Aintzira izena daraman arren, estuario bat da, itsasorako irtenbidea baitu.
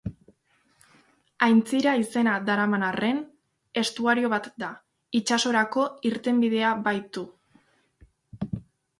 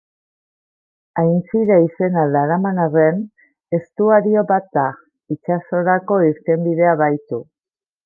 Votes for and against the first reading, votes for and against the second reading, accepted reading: 2, 0, 0, 2, first